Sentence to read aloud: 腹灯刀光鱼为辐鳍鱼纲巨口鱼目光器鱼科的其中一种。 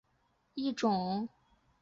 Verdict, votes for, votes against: rejected, 0, 2